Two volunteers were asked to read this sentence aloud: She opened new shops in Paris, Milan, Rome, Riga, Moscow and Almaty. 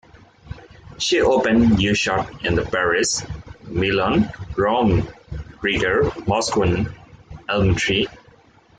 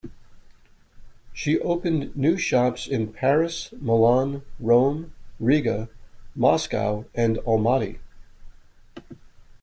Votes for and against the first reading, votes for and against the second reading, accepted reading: 0, 2, 2, 0, second